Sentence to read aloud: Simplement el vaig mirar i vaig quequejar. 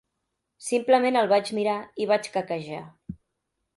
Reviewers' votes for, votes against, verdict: 2, 0, accepted